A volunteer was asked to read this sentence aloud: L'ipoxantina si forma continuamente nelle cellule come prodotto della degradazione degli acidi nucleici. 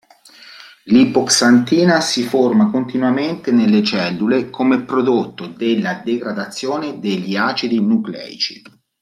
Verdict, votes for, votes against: accepted, 2, 0